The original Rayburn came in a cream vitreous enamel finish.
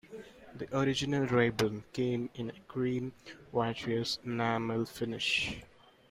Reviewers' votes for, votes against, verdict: 2, 0, accepted